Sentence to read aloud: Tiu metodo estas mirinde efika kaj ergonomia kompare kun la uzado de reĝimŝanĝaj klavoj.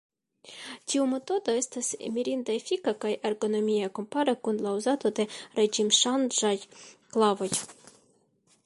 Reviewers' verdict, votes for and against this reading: accepted, 2, 0